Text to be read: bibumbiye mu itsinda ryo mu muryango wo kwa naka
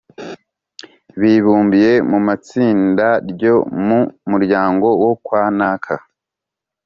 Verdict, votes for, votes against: rejected, 0, 2